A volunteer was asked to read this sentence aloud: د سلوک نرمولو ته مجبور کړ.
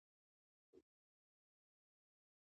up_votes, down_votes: 0, 2